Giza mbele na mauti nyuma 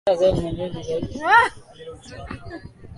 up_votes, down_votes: 0, 2